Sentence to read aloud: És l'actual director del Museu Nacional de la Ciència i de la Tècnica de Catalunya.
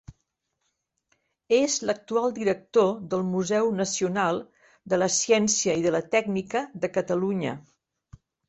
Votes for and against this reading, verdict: 3, 0, accepted